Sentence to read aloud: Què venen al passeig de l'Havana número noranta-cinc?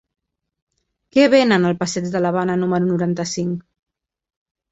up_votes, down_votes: 0, 2